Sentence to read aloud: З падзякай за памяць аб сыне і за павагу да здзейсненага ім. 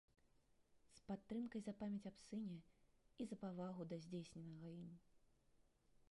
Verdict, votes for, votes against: rejected, 0, 2